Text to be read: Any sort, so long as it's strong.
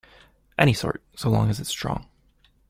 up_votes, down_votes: 2, 0